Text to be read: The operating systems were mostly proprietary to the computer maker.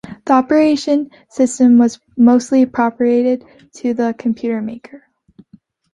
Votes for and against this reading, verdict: 0, 2, rejected